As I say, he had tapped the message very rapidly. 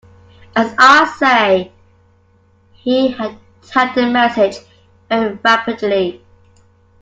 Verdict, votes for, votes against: accepted, 2, 1